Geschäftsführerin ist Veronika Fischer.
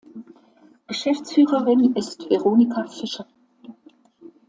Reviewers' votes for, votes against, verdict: 2, 0, accepted